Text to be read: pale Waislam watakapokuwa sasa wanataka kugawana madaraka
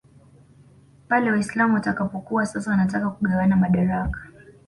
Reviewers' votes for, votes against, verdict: 2, 0, accepted